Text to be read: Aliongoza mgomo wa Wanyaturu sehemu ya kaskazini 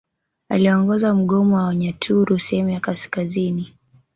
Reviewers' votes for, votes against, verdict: 4, 0, accepted